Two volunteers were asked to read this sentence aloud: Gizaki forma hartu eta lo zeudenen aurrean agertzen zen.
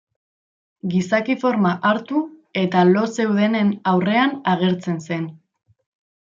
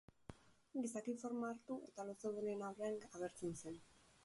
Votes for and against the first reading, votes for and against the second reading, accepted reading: 2, 0, 2, 4, first